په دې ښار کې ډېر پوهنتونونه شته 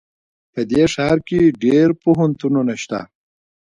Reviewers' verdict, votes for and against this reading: accepted, 2, 1